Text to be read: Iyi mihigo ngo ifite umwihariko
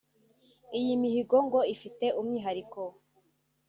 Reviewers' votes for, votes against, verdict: 0, 2, rejected